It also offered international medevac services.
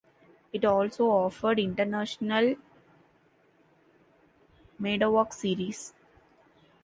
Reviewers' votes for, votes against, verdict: 1, 3, rejected